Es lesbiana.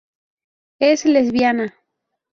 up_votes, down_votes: 2, 0